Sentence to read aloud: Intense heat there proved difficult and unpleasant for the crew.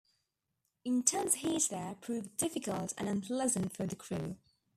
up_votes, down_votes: 2, 1